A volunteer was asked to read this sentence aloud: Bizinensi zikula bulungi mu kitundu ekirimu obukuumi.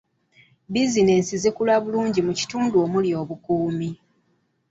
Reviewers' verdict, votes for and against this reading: accepted, 2, 1